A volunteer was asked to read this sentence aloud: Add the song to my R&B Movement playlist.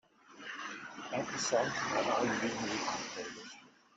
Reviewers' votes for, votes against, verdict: 0, 3, rejected